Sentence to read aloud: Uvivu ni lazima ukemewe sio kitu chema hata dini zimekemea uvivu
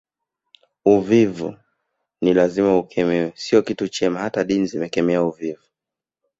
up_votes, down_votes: 3, 0